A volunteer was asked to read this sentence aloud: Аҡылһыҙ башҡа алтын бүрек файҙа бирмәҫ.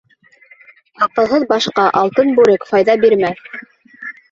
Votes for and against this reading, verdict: 0, 4, rejected